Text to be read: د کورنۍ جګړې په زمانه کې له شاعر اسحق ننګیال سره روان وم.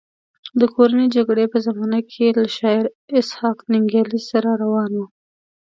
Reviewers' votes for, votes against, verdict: 0, 2, rejected